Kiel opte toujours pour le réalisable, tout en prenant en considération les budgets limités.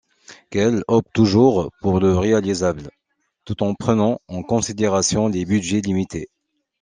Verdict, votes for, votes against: accepted, 3, 2